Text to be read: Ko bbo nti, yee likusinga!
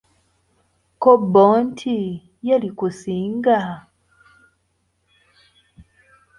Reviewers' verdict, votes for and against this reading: accepted, 3, 0